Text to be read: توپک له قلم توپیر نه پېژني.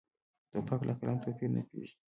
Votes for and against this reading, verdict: 0, 2, rejected